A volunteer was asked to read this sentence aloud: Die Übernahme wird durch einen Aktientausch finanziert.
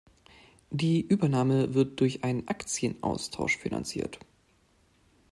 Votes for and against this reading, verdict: 1, 2, rejected